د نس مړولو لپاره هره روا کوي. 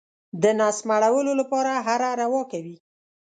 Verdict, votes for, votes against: accepted, 7, 0